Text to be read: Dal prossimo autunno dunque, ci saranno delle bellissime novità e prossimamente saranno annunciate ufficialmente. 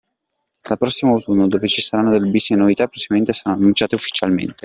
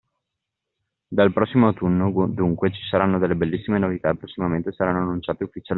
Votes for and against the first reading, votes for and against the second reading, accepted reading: 1, 2, 2, 1, second